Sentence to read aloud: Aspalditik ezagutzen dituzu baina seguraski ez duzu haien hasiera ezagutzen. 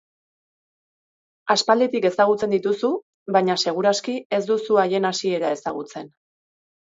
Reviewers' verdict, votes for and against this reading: accepted, 2, 0